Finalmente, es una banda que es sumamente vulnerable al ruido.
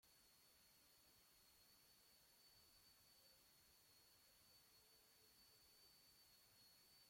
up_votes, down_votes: 0, 2